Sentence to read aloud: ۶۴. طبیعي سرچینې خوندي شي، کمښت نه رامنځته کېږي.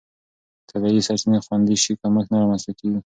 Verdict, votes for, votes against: rejected, 0, 2